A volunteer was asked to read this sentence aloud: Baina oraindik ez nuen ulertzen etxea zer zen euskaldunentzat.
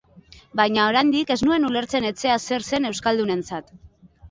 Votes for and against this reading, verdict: 2, 0, accepted